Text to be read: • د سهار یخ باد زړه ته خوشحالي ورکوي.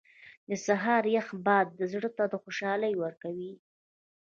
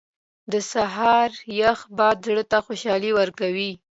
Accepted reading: second